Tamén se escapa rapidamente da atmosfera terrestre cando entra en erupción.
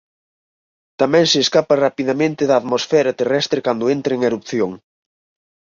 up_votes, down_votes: 6, 0